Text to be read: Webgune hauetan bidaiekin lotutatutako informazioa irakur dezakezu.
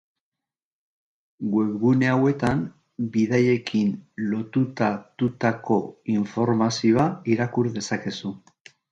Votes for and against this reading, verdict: 1, 2, rejected